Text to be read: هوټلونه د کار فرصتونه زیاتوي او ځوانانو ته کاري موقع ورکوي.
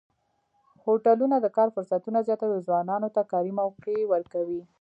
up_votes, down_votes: 0, 2